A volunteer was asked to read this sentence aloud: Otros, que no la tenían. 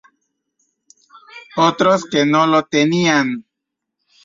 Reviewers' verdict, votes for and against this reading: rejected, 0, 2